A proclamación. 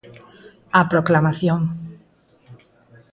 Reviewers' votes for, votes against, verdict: 4, 0, accepted